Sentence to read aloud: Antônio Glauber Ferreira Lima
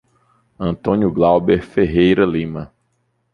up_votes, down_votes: 2, 0